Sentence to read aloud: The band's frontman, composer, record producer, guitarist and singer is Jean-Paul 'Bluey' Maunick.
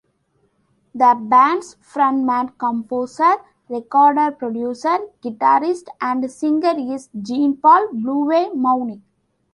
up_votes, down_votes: 1, 2